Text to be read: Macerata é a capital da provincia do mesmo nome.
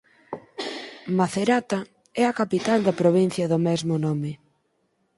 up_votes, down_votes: 4, 2